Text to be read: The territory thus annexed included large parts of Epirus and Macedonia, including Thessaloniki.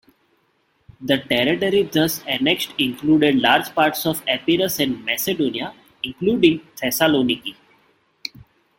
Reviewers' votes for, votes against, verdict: 2, 0, accepted